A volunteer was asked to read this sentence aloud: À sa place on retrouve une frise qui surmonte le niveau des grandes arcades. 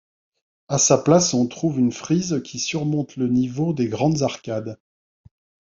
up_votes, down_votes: 1, 2